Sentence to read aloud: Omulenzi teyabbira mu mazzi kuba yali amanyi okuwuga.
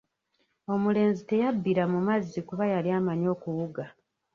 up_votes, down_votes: 0, 2